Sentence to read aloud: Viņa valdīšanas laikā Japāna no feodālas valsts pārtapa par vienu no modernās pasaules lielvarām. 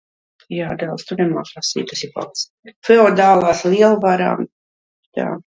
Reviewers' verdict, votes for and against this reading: rejected, 0, 2